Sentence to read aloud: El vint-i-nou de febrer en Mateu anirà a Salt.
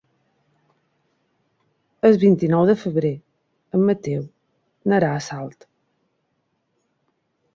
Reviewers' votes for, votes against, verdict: 4, 1, accepted